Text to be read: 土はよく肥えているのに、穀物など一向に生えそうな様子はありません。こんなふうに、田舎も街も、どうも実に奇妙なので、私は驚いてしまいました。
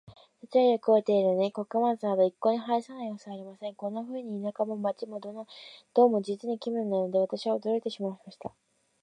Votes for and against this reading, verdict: 0, 2, rejected